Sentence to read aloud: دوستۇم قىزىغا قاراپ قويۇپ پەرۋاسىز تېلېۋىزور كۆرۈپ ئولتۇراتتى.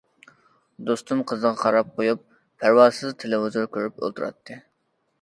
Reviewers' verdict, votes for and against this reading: accepted, 2, 1